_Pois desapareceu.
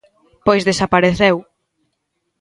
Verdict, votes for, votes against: accepted, 2, 0